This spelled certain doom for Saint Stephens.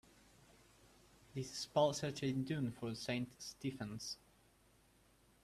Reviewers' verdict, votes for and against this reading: rejected, 1, 2